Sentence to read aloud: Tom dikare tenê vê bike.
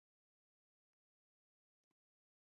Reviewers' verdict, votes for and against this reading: rejected, 0, 2